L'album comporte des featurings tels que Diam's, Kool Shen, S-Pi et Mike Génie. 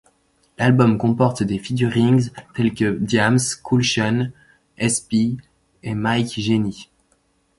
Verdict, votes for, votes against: accepted, 2, 0